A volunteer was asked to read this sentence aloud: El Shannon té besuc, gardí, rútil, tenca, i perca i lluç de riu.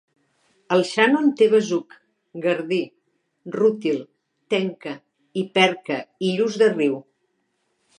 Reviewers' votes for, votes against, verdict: 2, 0, accepted